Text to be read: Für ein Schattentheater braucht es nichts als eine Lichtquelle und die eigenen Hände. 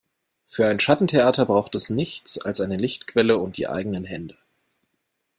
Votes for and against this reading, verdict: 2, 0, accepted